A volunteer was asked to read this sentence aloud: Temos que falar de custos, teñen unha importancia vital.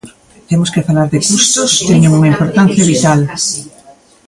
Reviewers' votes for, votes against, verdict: 0, 2, rejected